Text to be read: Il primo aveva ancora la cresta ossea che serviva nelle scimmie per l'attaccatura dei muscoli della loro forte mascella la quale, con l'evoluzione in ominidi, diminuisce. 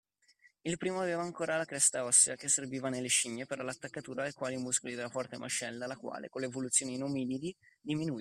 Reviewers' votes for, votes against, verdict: 0, 2, rejected